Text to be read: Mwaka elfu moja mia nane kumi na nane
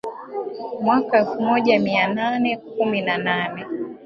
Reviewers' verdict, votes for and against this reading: accepted, 2, 0